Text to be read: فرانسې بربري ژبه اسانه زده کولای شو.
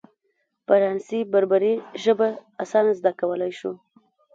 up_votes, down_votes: 2, 0